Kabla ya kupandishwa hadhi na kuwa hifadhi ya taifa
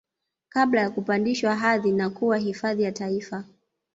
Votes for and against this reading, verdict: 1, 2, rejected